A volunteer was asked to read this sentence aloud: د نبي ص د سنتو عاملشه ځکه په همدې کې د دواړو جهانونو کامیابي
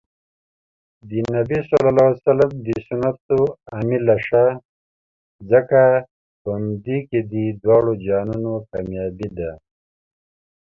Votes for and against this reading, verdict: 2, 0, accepted